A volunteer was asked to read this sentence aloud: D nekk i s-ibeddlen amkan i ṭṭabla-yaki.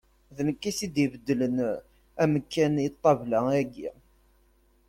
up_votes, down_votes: 1, 2